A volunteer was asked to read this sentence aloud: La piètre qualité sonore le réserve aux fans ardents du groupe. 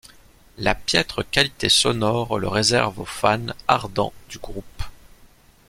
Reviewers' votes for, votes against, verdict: 2, 0, accepted